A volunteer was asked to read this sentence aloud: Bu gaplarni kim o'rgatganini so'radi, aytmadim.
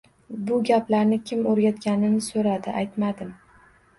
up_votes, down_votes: 0, 2